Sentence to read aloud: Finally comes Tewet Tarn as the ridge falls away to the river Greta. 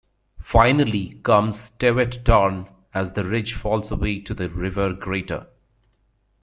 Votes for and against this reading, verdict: 1, 2, rejected